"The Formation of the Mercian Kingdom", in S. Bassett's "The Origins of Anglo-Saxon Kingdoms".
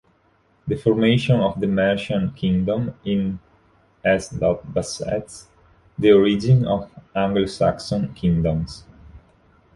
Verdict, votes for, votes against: rejected, 0, 2